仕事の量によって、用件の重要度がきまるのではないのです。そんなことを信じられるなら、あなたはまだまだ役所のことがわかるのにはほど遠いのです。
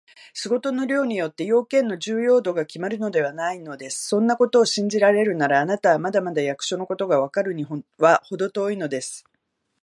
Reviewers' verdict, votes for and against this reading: rejected, 1, 2